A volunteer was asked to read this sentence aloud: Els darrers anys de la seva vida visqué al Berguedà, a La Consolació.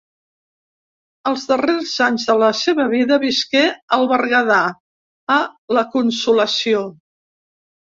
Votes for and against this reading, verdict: 2, 0, accepted